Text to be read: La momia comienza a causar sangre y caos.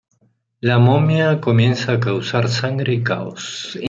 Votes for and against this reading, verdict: 2, 0, accepted